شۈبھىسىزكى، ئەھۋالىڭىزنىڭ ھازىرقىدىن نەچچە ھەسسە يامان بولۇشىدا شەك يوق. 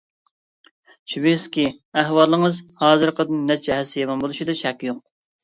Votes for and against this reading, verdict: 0, 2, rejected